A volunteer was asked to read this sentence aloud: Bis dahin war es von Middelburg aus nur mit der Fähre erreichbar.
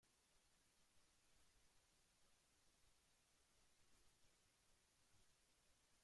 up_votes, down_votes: 0, 2